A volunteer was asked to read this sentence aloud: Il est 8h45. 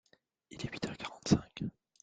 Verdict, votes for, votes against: rejected, 0, 2